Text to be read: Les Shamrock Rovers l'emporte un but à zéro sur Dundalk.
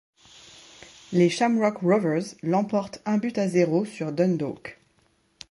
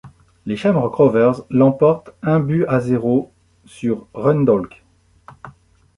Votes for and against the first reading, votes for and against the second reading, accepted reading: 2, 0, 0, 2, first